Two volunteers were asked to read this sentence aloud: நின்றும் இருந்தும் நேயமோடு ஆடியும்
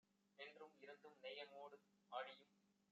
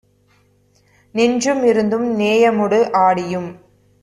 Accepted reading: second